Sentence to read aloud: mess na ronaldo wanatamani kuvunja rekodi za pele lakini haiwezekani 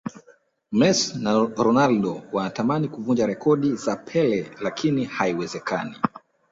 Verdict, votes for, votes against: rejected, 0, 2